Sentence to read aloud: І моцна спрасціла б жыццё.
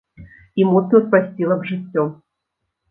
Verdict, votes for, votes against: rejected, 0, 2